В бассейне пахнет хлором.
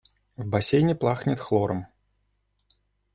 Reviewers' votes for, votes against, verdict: 0, 2, rejected